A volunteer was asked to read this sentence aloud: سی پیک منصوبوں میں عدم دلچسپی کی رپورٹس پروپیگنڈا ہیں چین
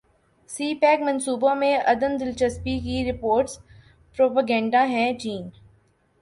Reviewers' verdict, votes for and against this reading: accepted, 2, 0